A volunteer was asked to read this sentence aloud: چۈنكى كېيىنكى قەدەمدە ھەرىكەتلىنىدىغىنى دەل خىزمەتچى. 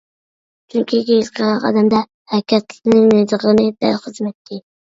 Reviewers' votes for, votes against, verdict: 0, 2, rejected